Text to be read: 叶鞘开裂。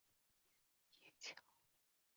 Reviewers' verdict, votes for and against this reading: rejected, 1, 3